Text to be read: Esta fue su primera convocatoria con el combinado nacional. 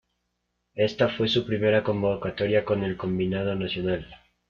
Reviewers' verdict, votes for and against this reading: accepted, 2, 0